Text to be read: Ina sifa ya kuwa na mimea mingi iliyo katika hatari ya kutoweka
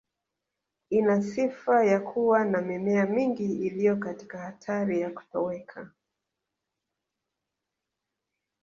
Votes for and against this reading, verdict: 4, 2, accepted